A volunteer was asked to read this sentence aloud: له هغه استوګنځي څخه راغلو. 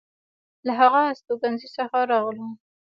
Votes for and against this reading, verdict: 0, 2, rejected